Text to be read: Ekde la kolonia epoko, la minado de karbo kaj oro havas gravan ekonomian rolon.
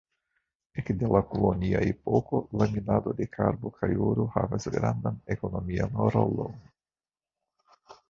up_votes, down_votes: 0, 2